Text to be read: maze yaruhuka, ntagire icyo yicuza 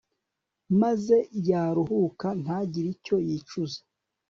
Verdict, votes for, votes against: accepted, 2, 0